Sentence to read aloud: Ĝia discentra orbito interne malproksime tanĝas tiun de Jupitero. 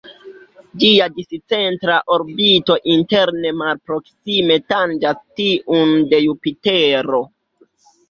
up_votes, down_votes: 1, 2